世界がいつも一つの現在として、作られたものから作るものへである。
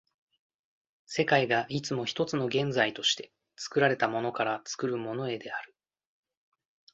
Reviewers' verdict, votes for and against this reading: accepted, 2, 0